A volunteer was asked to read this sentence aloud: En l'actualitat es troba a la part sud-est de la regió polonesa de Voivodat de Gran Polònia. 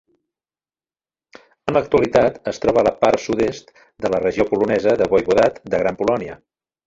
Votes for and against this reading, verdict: 2, 0, accepted